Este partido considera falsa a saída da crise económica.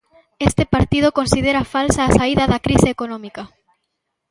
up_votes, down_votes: 1, 2